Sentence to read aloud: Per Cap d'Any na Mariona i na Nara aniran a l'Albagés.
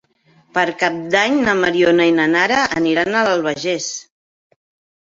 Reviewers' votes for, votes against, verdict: 1, 2, rejected